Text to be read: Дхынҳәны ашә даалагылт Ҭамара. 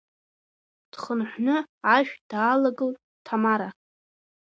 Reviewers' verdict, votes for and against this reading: rejected, 1, 2